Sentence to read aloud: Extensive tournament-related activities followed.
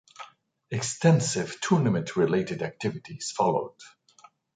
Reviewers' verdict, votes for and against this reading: accepted, 2, 0